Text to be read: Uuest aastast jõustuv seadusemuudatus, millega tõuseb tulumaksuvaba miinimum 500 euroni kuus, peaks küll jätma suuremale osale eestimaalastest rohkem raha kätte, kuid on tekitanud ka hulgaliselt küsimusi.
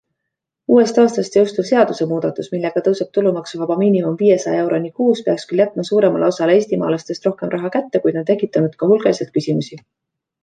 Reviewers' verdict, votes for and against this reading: rejected, 0, 2